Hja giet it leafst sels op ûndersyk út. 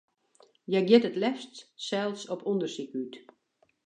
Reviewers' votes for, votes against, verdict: 2, 0, accepted